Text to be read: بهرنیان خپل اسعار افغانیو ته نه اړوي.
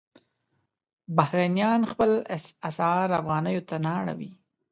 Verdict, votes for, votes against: rejected, 1, 2